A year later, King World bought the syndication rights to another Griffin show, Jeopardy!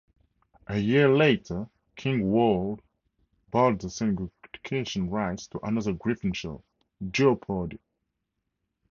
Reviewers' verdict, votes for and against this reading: rejected, 0, 2